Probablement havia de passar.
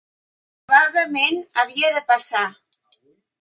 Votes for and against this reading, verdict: 1, 2, rejected